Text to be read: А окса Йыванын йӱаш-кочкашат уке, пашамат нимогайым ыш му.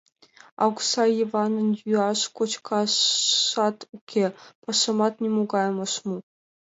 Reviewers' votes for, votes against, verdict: 2, 0, accepted